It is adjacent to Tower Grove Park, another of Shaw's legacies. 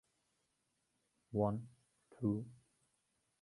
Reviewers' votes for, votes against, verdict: 0, 2, rejected